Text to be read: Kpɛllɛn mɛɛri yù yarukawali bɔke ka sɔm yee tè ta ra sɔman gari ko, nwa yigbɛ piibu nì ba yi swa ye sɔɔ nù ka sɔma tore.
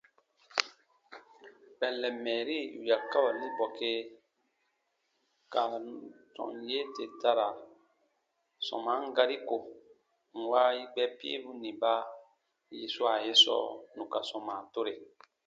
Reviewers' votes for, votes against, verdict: 2, 0, accepted